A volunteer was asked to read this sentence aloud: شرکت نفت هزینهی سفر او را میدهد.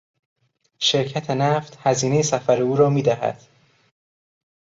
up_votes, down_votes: 2, 0